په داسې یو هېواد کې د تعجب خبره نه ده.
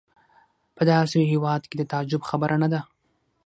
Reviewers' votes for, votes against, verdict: 0, 6, rejected